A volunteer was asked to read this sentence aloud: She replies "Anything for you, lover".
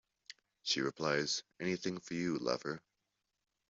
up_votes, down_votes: 2, 0